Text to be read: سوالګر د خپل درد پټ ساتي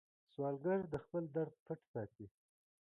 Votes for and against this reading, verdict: 2, 0, accepted